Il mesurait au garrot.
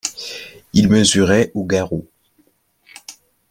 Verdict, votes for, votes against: accepted, 2, 0